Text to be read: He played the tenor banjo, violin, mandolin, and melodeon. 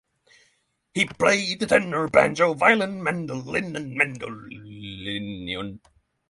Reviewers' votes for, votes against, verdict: 0, 6, rejected